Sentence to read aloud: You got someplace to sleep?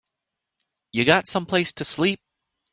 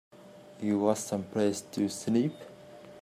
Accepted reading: first